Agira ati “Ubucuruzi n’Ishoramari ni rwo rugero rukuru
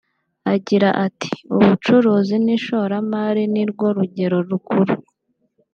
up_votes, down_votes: 2, 0